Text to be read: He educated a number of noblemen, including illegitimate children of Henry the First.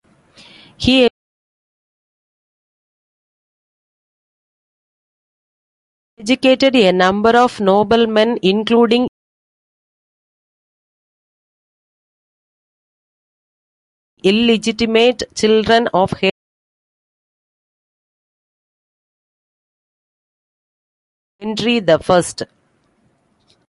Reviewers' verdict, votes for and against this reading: accepted, 2, 0